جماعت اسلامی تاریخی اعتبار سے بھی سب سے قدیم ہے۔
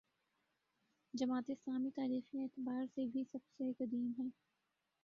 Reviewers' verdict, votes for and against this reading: rejected, 1, 2